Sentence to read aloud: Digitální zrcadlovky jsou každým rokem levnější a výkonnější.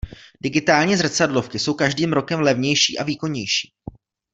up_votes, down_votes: 2, 0